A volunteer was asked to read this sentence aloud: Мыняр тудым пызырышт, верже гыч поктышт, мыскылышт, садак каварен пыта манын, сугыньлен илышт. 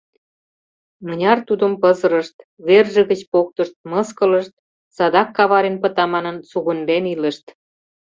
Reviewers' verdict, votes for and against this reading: accepted, 2, 0